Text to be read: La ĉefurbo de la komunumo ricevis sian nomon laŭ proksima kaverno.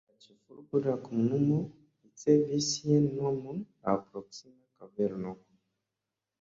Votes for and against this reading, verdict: 2, 0, accepted